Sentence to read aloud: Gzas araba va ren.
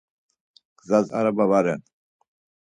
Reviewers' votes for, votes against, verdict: 4, 0, accepted